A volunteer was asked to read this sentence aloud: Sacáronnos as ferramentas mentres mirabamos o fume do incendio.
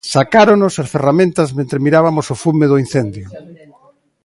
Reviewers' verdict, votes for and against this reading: rejected, 1, 2